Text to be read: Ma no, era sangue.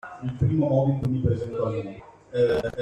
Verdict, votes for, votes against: rejected, 0, 2